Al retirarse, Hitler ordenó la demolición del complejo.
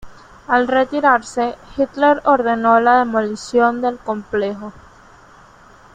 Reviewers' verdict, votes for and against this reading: accepted, 2, 0